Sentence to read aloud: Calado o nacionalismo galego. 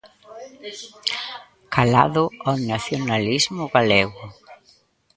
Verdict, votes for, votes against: rejected, 0, 2